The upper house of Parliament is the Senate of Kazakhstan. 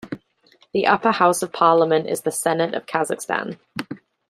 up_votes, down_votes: 2, 0